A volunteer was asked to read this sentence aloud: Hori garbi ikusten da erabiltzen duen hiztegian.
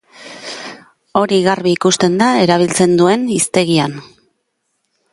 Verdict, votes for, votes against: accepted, 2, 0